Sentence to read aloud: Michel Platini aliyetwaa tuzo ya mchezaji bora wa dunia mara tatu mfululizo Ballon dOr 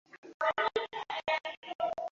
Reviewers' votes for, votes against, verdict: 0, 2, rejected